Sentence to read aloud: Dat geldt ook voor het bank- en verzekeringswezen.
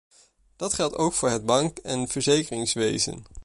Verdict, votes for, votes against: accepted, 2, 0